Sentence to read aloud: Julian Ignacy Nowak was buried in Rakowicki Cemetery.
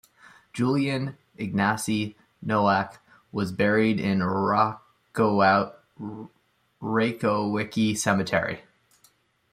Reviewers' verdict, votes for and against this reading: rejected, 0, 2